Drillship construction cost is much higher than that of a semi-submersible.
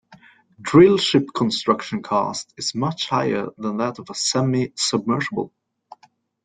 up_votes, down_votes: 2, 0